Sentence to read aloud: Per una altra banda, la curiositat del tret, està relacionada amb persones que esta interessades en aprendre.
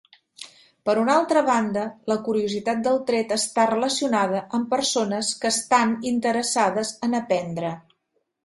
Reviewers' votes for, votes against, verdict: 0, 2, rejected